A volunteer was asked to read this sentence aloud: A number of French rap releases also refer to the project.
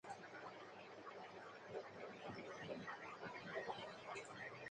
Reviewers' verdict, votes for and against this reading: rejected, 0, 2